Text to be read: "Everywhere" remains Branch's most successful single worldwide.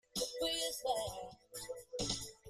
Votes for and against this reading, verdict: 1, 2, rejected